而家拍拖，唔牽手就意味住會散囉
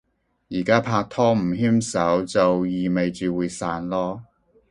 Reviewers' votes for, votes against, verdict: 2, 0, accepted